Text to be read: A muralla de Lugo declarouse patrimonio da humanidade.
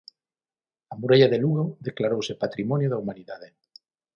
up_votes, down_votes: 6, 0